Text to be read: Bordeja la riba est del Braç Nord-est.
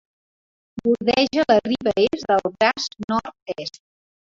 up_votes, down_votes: 2, 1